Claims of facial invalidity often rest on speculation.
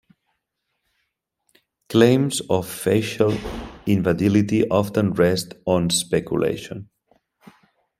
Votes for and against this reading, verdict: 2, 1, accepted